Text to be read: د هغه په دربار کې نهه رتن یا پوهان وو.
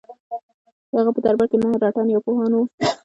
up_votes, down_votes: 2, 0